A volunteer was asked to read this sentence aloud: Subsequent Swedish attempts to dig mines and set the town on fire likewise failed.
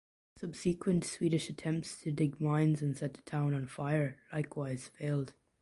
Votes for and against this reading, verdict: 2, 0, accepted